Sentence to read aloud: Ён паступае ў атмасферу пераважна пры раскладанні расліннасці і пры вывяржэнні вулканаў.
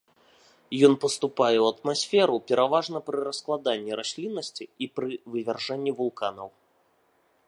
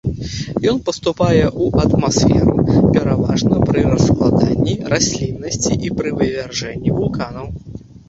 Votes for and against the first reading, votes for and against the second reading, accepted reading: 2, 0, 0, 2, first